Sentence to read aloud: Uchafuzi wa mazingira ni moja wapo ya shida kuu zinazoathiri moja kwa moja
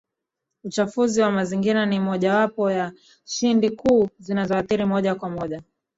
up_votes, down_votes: 0, 2